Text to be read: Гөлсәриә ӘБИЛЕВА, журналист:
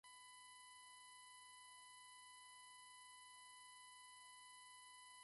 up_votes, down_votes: 1, 2